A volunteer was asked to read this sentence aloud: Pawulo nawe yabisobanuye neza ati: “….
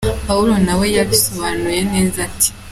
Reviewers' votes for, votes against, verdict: 3, 0, accepted